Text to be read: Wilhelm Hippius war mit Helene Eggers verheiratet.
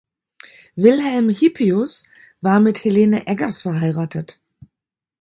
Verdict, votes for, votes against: accepted, 2, 0